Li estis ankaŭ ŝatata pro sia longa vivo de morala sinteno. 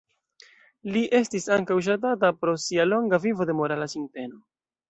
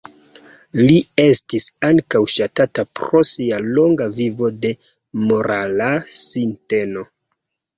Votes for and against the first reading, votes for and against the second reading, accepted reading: 0, 2, 2, 1, second